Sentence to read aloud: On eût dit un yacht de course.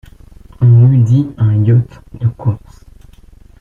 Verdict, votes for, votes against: accepted, 2, 0